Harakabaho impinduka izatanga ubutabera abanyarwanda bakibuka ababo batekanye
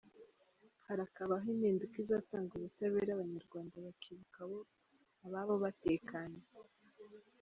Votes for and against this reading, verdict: 2, 3, rejected